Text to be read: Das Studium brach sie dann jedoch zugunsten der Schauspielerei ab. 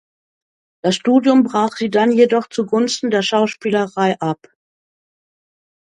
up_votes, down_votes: 2, 1